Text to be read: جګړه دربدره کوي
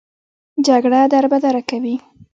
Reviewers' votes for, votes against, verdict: 2, 0, accepted